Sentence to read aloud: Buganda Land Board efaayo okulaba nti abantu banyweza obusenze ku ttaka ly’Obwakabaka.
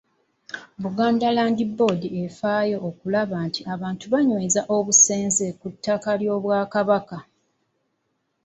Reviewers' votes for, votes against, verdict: 2, 0, accepted